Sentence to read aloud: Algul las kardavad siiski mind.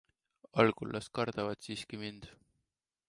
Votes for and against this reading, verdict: 2, 1, accepted